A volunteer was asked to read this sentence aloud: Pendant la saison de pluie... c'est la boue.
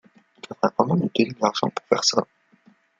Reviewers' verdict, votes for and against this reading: rejected, 0, 2